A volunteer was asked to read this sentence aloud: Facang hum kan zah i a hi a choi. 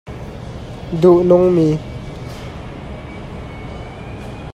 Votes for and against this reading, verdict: 0, 2, rejected